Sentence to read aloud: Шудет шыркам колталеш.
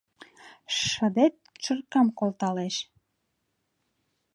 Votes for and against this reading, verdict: 0, 2, rejected